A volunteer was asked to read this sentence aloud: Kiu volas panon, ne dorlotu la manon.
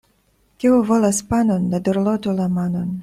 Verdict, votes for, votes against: accepted, 2, 0